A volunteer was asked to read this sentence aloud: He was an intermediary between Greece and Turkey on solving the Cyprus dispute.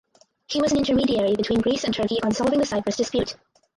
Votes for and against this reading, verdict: 0, 4, rejected